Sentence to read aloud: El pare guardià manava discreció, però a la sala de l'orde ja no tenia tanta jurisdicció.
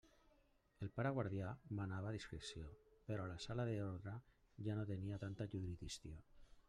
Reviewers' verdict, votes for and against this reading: rejected, 1, 2